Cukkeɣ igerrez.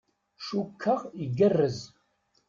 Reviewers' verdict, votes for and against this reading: accepted, 2, 0